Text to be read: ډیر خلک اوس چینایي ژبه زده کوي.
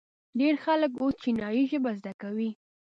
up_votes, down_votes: 2, 0